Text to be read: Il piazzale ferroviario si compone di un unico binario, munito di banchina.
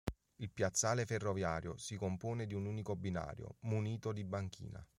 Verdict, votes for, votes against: accepted, 2, 0